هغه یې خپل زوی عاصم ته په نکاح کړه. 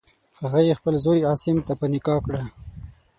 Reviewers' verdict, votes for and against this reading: accepted, 6, 0